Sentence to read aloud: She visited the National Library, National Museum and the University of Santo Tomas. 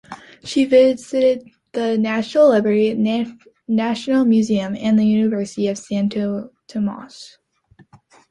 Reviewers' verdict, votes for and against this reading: rejected, 0, 2